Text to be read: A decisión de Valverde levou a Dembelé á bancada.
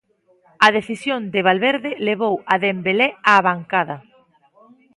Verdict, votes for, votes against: accepted, 3, 0